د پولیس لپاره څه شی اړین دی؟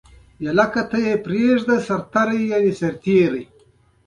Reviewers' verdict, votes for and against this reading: rejected, 1, 2